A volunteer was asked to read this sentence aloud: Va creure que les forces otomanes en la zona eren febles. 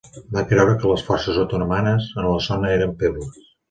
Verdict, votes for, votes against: rejected, 1, 2